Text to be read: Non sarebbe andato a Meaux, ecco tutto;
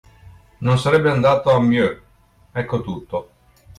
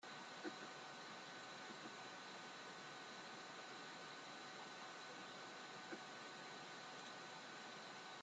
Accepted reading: first